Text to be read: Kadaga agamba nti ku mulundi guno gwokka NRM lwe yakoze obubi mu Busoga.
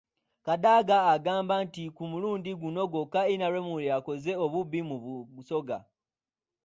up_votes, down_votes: 0, 2